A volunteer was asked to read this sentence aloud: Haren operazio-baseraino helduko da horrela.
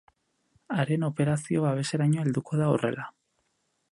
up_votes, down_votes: 0, 4